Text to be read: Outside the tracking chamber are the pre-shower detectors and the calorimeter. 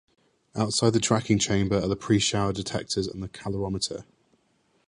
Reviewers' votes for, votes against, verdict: 2, 1, accepted